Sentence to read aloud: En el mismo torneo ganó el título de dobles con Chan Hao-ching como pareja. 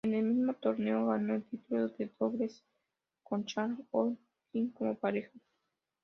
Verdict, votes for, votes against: rejected, 0, 2